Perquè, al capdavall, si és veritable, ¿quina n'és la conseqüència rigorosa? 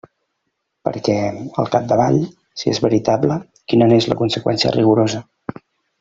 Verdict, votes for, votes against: accepted, 3, 0